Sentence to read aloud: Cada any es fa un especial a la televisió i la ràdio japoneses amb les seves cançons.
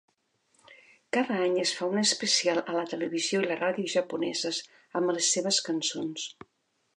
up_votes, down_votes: 2, 0